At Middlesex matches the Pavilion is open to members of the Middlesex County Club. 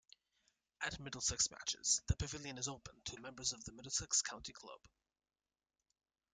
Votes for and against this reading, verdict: 0, 2, rejected